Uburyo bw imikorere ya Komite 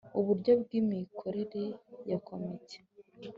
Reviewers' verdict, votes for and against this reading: accepted, 2, 0